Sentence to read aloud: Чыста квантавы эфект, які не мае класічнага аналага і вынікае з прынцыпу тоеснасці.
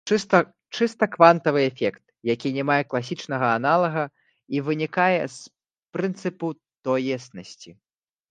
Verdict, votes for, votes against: rejected, 0, 3